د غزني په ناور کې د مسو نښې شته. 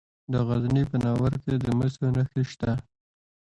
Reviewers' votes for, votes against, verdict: 2, 0, accepted